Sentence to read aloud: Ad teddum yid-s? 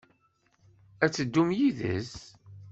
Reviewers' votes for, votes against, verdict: 2, 0, accepted